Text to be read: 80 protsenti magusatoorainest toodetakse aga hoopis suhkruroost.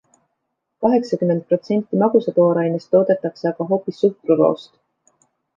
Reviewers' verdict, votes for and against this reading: rejected, 0, 2